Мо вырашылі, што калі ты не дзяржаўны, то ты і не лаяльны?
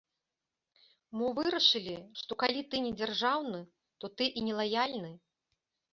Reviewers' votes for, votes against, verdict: 2, 0, accepted